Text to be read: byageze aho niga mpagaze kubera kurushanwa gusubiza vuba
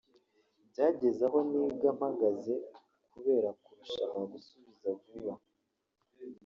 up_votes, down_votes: 1, 2